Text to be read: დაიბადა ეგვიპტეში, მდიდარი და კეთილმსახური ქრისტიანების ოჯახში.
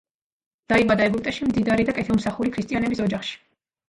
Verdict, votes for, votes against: accepted, 2, 0